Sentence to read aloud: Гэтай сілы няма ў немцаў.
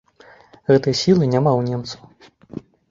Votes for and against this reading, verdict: 2, 0, accepted